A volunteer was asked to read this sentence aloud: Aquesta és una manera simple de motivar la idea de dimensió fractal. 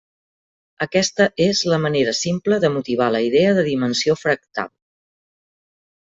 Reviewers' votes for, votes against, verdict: 0, 2, rejected